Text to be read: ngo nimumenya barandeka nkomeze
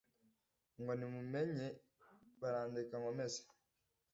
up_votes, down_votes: 2, 1